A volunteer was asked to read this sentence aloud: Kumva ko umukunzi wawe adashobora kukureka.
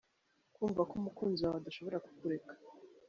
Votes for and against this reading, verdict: 1, 2, rejected